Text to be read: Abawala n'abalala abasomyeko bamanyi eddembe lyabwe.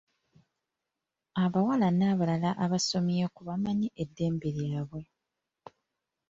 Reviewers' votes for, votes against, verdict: 2, 1, accepted